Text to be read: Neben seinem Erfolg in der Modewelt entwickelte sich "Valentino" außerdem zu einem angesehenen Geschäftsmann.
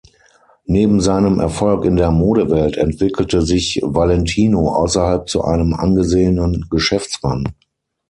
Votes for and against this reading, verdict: 0, 6, rejected